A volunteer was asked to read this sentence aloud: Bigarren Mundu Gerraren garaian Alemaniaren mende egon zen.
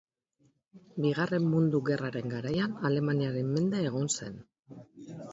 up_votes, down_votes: 1, 2